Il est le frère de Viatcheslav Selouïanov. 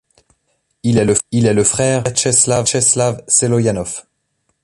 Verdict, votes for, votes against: rejected, 0, 2